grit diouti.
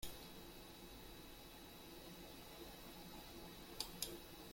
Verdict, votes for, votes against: rejected, 0, 2